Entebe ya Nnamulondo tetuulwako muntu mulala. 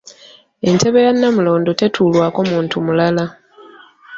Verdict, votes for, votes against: accepted, 2, 0